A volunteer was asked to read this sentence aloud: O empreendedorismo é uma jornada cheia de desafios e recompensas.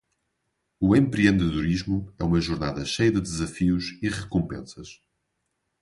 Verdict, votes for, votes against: accepted, 2, 0